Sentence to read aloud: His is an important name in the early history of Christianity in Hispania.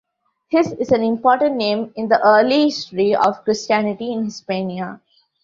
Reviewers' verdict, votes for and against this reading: rejected, 1, 2